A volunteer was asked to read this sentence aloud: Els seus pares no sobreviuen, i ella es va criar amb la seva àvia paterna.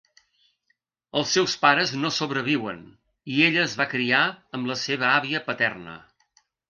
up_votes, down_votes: 2, 0